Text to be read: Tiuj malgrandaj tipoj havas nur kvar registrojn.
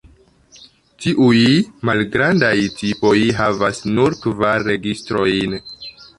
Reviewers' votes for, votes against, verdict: 0, 2, rejected